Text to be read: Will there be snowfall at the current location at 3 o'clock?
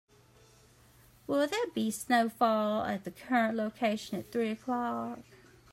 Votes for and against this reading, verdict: 0, 2, rejected